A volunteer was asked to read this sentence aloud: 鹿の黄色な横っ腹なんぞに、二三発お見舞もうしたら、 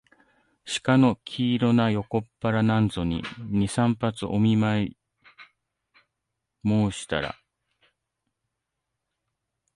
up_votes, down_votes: 1, 2